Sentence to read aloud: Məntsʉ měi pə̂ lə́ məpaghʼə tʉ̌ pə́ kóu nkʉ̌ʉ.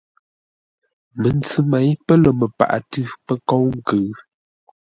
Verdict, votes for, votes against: accepted, 2, 0